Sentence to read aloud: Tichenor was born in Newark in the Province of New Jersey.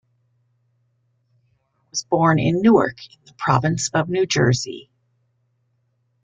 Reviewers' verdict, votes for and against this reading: rejected, 0, 2